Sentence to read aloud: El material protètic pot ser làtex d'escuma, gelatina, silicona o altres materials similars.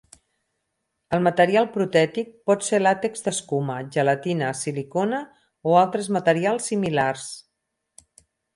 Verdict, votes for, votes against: accepted, 6, 2